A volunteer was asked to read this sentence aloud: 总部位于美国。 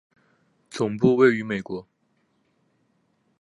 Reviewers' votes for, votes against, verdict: 2, 0, accepted